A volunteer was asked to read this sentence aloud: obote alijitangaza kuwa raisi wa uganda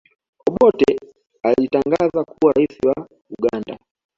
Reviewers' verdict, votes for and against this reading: accepted, 2, 1